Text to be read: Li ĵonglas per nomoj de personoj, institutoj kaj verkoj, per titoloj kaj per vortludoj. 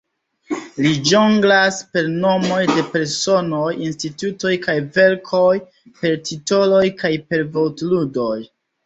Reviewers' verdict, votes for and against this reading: accepted, 2, 0